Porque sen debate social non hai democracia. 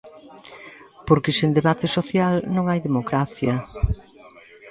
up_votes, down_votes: 1, 2